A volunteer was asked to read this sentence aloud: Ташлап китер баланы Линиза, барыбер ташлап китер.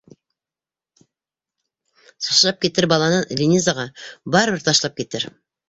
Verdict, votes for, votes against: rejected, 0, 2